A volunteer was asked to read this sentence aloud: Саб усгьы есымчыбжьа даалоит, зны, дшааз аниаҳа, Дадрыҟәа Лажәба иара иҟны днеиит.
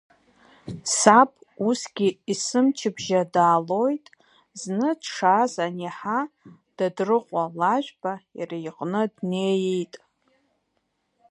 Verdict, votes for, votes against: rejected, 1, 2